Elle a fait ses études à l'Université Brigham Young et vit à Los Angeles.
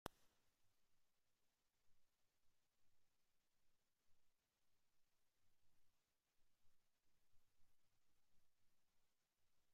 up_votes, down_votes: 0, 2